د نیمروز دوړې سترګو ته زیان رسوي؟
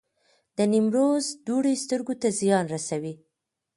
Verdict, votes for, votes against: accepted, 2, 0